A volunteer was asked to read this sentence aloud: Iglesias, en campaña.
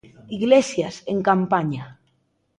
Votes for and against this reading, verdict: 2, 0, accepted